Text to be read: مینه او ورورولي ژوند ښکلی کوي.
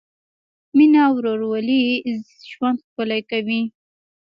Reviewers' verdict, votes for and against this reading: rejected, 1, 2